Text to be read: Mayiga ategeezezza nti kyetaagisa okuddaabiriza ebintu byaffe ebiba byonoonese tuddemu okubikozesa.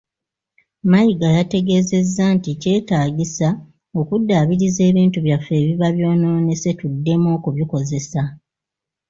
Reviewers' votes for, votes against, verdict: 1, 2, rejected